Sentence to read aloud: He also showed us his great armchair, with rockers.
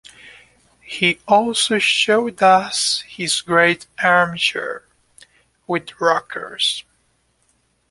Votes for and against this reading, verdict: 2, 0, accepted